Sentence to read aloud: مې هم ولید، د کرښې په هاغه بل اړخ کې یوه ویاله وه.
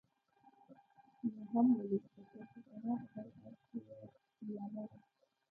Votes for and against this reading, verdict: 0, 2, rejected